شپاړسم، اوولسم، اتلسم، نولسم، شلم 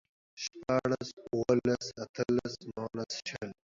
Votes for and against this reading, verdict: 0, 2, rejected